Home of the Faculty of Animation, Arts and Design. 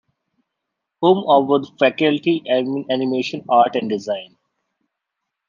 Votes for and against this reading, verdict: 0, 2, rejected